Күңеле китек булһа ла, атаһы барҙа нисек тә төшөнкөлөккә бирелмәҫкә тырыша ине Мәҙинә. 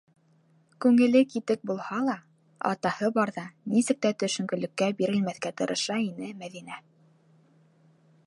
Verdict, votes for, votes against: accepted, 4, 0